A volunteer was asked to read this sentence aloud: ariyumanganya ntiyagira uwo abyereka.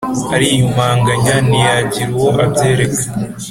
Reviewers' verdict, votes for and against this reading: accepted, 3, 0